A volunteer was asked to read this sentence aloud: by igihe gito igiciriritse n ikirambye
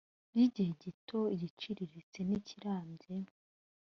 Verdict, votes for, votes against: accepted, 2, 0